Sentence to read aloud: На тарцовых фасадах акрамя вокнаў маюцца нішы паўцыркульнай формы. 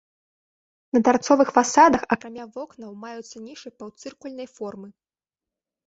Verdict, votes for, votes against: accepted, 2, 0